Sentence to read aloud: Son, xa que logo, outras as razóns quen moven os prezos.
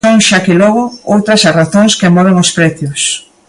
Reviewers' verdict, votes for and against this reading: rejected, 1, 2